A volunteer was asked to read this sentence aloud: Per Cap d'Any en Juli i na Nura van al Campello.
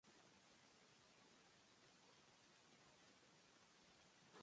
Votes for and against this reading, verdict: 1, 2, rejected